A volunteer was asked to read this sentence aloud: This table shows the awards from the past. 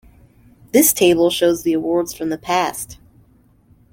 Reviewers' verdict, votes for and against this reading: accepted, 2, 0